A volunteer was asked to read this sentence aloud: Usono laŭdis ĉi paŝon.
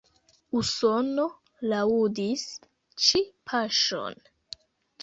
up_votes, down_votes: 1, 2